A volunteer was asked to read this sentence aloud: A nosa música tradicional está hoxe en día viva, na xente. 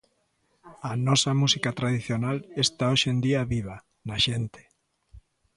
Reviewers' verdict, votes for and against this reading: accepted, 2, 0